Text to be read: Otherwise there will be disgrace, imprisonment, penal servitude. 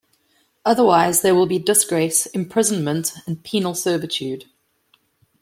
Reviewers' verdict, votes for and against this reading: rejected, 0, 2